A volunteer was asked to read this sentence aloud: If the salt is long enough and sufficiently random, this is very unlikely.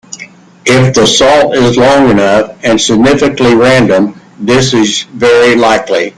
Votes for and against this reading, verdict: 0, 2, rejected